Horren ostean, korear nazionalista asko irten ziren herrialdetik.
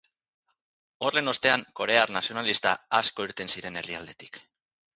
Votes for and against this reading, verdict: 0, 4, rejected